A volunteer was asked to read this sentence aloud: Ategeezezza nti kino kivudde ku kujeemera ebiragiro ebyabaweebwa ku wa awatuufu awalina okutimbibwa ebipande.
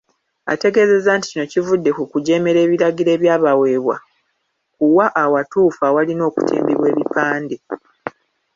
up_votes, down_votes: 1, 2